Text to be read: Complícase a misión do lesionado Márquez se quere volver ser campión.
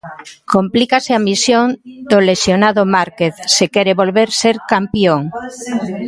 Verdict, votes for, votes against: rejected, 0, 2